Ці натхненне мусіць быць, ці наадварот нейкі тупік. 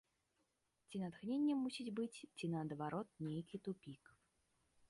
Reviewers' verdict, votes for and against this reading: rejected, 1, 3